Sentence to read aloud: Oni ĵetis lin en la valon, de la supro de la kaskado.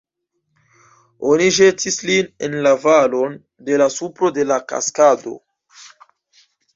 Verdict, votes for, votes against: accepted, 2, 0